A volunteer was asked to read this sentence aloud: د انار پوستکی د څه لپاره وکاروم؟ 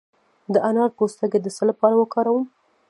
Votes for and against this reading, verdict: 0, 2, rejected